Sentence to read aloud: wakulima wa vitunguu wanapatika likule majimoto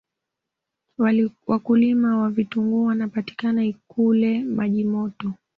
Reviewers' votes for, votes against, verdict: 2, 1, accepted